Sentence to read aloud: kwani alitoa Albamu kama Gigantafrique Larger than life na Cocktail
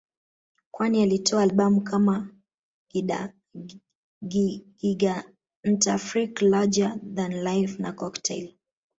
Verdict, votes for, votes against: rejected, 2, 3